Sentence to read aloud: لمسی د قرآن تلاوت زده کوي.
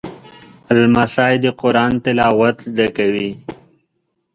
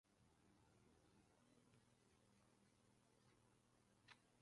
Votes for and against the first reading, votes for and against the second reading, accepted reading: 2, 0, 1, 2, first